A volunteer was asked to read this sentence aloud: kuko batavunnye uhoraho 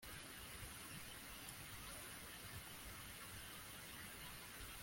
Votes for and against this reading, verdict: 0, 2, rejected